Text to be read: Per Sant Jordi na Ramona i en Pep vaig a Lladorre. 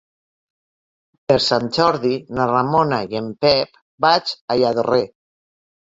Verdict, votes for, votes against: rejected, 0, 2